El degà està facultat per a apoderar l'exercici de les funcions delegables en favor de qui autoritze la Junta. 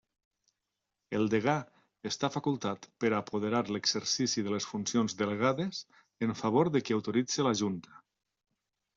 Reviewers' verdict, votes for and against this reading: rejected, 0, 2